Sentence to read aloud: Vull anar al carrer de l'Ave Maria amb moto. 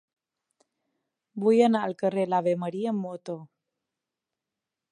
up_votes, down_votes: 1, 2